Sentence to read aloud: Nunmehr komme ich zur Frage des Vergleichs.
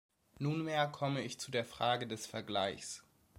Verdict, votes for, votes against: accepted, 2, 0